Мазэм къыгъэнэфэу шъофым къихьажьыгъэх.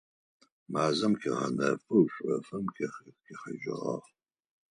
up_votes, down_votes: 2, 4